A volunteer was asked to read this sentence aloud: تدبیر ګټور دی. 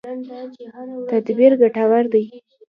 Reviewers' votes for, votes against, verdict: 2, 0, accepted